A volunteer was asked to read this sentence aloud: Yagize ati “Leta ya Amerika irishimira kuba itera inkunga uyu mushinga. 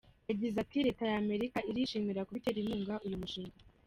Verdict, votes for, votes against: accepted, 2, 0